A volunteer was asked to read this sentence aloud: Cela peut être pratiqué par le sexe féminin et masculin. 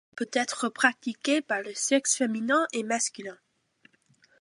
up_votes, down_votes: 0, 2